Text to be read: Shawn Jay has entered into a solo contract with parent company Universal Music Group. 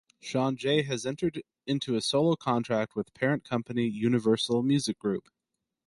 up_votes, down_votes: 2, 2